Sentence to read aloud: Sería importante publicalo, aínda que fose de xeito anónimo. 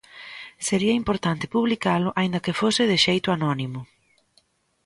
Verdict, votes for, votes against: accepted, 2, 0